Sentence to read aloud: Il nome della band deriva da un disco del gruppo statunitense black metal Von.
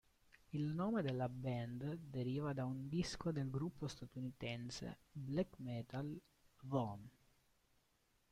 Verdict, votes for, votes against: rejected, 1, 2